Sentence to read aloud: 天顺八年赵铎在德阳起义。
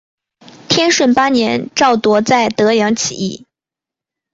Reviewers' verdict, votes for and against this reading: accepted, 2, 0